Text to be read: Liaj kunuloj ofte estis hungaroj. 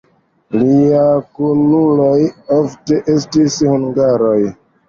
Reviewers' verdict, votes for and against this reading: accepted, 2, 1